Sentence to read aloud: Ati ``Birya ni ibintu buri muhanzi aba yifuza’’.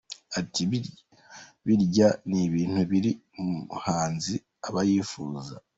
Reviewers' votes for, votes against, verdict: 2, 0, accepted